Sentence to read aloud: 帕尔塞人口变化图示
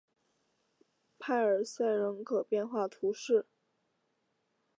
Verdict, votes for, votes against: accepted, 3, 0